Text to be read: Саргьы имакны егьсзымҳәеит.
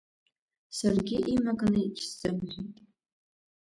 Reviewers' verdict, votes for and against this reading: rejected, 0, 2